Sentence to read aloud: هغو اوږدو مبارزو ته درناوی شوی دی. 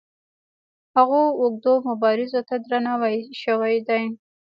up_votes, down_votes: 1, 2